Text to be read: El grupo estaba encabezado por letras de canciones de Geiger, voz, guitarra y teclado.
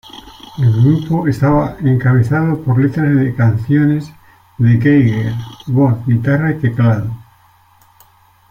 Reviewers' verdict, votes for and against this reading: rejected, 1, 2